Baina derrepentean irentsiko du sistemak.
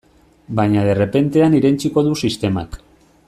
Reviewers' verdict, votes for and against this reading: rejected, 1, 2